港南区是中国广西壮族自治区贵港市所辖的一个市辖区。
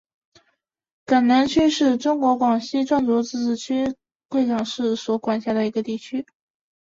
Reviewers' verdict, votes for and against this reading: rejected, 1, 2